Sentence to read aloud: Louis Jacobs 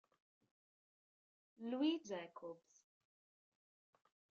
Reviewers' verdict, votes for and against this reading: rejected, 0, 2